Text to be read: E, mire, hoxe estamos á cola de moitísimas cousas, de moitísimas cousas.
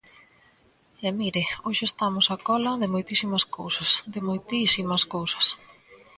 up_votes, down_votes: 2, 0